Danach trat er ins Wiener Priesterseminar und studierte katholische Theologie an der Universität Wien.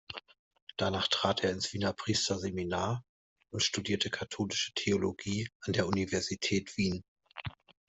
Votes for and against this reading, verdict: 2, 0, accepted